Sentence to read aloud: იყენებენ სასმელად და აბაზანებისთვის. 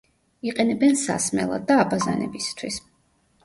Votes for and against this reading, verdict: 1, 2, rejected